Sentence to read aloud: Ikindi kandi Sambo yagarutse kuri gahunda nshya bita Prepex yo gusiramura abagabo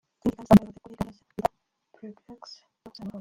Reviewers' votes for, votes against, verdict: 0, 2, rejected